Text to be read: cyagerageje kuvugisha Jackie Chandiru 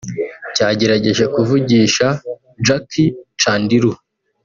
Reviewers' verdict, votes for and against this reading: accepted, 2, 0